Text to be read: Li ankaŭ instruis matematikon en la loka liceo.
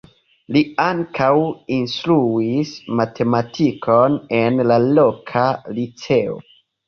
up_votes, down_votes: 2, 1